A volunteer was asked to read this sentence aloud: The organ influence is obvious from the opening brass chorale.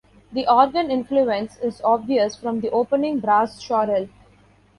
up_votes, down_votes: 1, 2